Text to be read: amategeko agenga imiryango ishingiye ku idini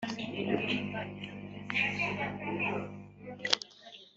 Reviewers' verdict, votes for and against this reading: rejected, 0, 2